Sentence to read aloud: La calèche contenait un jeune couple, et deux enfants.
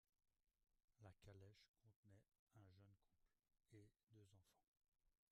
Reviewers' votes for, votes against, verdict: 0, 2, rejected